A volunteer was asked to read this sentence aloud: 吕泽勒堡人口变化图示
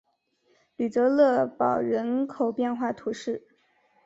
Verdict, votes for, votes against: accepted, 5, 0